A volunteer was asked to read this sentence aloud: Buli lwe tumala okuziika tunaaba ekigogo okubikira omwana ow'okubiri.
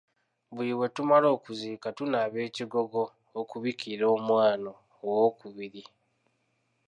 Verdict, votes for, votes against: rejected, 1, 2